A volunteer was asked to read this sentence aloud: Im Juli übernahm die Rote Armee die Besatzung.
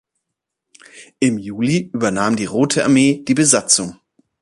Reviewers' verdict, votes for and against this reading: accepted, 2, 0